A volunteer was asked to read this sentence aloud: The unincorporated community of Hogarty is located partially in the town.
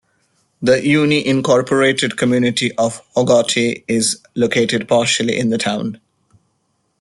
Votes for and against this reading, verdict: 0, 2, rejected